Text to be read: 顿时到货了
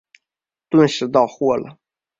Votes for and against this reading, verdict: 2, 0, accepted